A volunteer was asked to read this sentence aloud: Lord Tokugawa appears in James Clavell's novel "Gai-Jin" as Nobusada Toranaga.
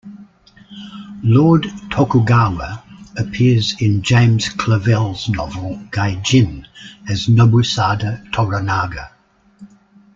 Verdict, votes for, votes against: accepted, 2, 0